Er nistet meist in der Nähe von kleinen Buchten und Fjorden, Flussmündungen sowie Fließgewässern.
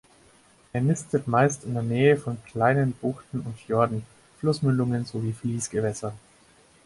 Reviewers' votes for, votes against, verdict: 4, 0, accepted